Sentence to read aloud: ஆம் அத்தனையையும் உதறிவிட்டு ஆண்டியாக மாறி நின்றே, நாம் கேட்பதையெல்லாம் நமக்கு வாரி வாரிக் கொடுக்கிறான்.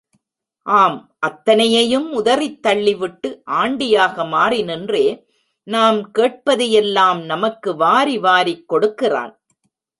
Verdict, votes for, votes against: rejected, 0, 3